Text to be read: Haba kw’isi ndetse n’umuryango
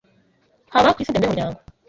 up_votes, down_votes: 1, 2